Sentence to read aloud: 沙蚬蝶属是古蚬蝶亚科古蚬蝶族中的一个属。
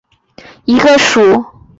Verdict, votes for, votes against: rejected, 1, 2